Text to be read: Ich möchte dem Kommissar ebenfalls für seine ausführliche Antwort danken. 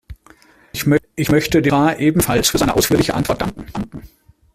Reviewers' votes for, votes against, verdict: 0, 2, rejected